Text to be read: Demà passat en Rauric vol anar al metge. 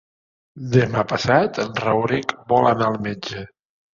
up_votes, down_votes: 2, 0